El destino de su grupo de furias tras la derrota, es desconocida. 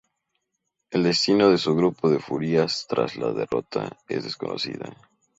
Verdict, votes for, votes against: accepted, 2, 0